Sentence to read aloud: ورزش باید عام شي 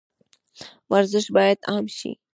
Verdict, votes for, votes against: rejected, 0, 2